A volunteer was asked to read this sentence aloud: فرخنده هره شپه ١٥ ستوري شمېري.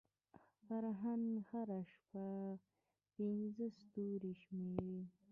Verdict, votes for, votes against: rejected, 0, 2